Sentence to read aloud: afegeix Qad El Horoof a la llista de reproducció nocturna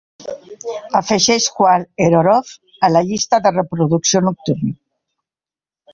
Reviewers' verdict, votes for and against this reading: rejected, 0, 2